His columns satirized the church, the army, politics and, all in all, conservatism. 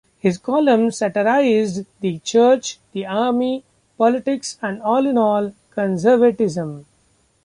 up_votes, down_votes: 2, 0